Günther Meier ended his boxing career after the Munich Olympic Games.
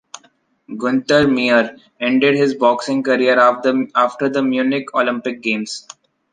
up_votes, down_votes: 1, 2